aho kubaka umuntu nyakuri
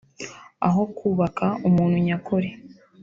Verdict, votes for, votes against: accepted, 4, 0